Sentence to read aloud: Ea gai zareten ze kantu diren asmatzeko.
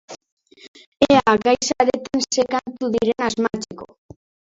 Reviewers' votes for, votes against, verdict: 0, 2, rejected